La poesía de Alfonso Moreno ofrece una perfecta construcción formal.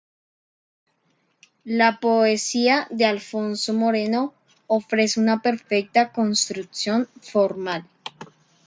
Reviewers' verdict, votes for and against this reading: accepted, 2, 0